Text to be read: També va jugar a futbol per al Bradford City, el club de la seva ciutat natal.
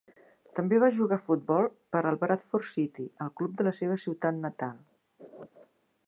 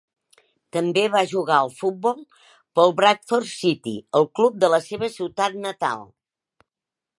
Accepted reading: first